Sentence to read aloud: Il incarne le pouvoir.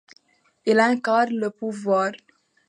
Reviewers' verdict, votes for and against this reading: accepted, 2, 1